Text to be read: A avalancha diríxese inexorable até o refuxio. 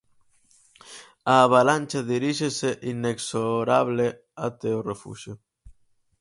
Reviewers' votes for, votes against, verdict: 2, 2, rejected